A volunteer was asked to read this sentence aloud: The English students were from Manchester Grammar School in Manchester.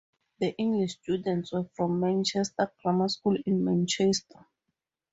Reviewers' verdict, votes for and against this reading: accepted, 2, 0